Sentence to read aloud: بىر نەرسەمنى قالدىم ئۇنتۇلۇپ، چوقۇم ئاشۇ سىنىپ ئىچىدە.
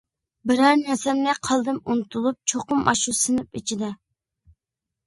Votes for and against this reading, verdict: 1, 2, rejected